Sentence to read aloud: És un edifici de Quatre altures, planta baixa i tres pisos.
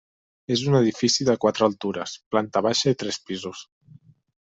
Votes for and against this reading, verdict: 3, 0, accepted